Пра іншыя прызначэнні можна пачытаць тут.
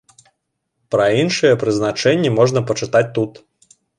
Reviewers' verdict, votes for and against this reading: accepted, 2, 0